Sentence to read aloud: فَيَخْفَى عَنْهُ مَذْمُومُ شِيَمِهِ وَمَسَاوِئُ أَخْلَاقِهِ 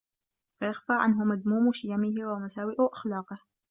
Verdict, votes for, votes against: accepted, 2, 0